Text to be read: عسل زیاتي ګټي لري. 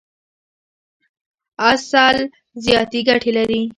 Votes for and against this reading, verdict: 1, 2, rejected